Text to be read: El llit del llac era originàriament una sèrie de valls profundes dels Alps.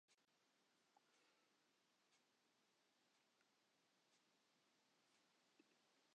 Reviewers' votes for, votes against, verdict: 0, 2, rejected